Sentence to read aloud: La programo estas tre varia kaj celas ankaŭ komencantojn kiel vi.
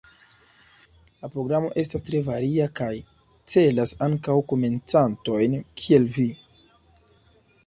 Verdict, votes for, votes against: accepted, 2, 0